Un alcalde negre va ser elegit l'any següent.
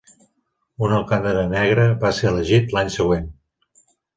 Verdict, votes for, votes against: rejected, 0, 2